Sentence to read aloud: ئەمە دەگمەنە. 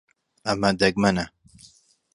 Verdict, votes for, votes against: accepted, 2, 0